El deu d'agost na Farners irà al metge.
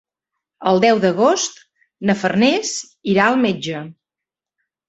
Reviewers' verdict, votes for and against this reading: accepted, 3, 0